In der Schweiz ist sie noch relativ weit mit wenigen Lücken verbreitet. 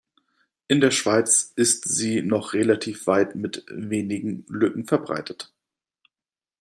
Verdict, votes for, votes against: accepted, 2, 1